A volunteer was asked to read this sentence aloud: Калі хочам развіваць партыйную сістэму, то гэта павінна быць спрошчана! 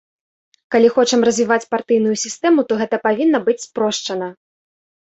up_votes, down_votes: 2, 0